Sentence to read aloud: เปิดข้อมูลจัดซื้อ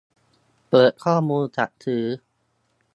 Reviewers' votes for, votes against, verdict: 1, 2, rejected